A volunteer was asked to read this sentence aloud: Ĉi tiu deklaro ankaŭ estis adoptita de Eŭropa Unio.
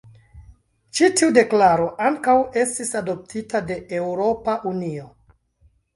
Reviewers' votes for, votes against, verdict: 0, 2, rejected